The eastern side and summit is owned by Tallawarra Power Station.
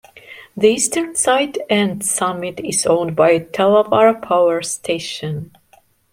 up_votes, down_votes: 2, 1